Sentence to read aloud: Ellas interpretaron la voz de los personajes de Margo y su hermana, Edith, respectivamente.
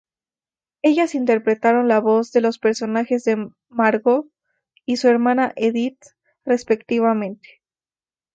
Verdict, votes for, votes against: accepted, 2, 0